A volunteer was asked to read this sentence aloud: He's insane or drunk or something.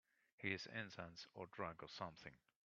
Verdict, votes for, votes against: rejected, 2, 7